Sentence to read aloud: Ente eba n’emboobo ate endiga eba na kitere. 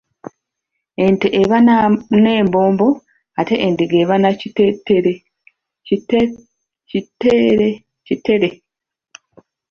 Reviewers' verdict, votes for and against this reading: rejected, 0, 2